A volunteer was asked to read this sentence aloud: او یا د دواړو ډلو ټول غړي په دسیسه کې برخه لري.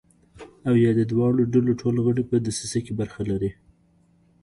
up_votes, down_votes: 2, 1